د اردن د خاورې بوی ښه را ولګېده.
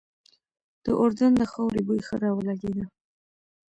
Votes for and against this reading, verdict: 0, 2, rejected